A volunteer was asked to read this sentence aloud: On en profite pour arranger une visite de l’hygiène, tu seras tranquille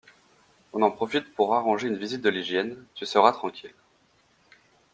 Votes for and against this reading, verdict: 2, 0, accepted